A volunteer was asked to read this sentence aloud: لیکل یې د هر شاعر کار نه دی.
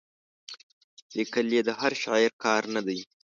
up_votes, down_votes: 3, 0